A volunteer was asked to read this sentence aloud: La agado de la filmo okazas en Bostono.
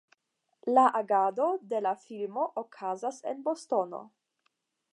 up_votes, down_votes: 5, 5